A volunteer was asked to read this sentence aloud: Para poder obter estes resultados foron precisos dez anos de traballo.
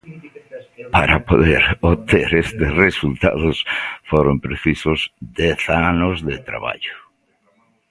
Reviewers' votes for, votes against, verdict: 2, 0, accepted